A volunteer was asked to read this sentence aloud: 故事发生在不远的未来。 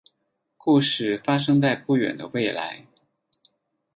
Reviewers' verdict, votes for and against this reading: accepted, 8, 2